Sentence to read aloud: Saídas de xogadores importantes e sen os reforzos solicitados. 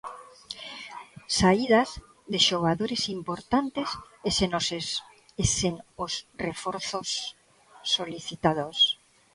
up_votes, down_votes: 0, 2